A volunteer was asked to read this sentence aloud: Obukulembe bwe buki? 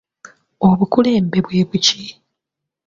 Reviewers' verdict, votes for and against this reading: accepted, 2, 0